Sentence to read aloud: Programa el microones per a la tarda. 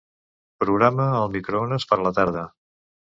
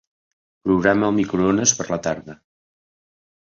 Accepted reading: second